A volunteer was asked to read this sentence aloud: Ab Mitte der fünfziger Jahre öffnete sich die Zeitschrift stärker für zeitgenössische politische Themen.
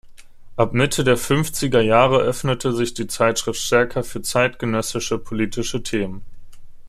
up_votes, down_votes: 2, 0